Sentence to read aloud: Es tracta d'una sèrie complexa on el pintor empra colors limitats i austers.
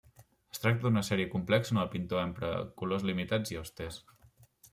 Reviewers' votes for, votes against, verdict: 2, 0, accepted